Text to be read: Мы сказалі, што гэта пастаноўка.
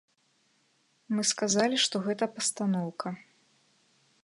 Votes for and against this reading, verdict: 2, 0, accepted